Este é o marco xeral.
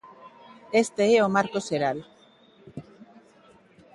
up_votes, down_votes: 2, 0